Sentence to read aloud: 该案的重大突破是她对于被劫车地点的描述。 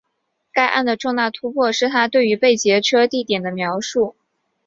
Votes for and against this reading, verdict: 5, 0, accepted